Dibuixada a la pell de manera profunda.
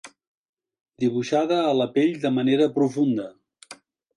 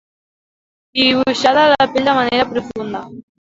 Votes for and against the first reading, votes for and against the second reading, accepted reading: 2, 0, 1, 2, first